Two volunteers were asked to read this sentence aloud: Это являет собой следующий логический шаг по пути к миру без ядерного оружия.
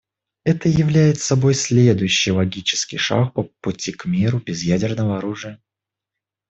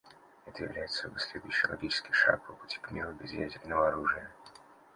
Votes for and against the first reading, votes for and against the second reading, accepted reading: 1, 2, 2, 1, second